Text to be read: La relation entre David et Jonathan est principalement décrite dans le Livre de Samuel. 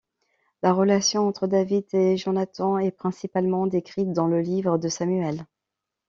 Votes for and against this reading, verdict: 2, 0, accepted